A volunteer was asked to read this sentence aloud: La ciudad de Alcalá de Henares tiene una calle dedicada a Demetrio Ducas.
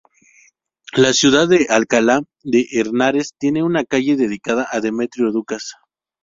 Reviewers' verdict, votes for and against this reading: rejected, 0, 2